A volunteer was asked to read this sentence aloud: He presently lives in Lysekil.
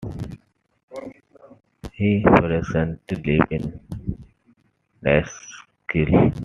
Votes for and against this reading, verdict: 0, 2, rejected